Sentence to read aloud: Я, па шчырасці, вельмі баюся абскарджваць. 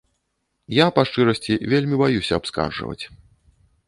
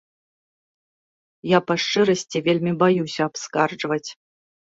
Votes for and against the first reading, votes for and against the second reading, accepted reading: 0, 2, 2, 0, second